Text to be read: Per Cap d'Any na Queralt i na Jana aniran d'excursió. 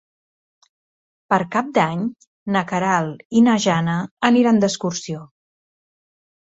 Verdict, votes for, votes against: accepted, 3, 0